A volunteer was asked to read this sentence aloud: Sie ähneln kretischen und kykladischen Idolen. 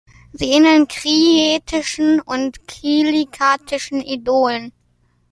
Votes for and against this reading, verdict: 0, 2, rejected